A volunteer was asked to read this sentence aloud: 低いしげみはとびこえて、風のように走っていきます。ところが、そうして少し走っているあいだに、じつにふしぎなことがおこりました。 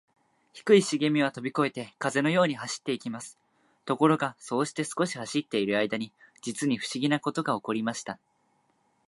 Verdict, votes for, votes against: accepted, 2, 0